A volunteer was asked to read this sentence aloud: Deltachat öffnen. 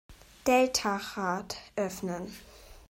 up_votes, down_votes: 0, 2